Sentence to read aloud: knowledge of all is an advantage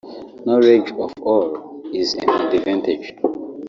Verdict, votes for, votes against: rejected, 1, 2